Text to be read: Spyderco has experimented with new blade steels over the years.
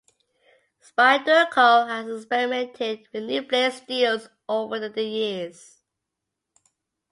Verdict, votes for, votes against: accepted, 2, 0